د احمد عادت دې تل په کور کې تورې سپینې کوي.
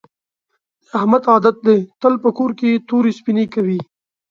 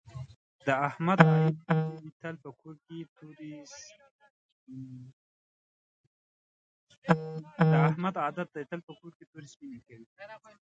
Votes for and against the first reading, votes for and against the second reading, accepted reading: 6, 0, 0, 2, first